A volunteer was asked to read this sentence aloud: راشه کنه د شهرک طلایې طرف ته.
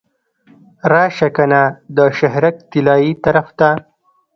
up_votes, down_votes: 1, 2